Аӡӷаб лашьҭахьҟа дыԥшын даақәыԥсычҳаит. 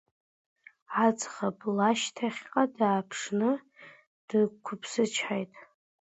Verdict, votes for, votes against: rejected, 1, 2